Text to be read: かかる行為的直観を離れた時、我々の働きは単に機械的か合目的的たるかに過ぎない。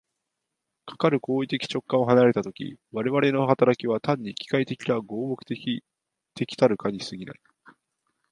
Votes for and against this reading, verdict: 0, 3, rejected